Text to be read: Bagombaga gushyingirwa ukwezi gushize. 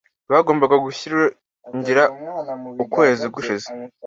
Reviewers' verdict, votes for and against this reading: rejected, 1, 2